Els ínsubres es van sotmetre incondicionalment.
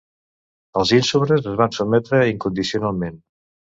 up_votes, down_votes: 2, 0